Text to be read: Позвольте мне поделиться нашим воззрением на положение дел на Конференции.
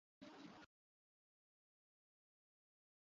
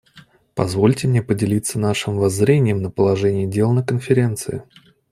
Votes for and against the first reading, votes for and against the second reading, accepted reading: 0, 2, 2, 0, second